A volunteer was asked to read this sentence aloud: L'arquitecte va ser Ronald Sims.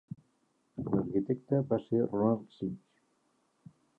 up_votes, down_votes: 1, 2